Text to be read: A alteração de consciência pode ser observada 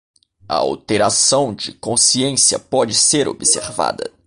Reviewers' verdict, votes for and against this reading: rejected, 0, 2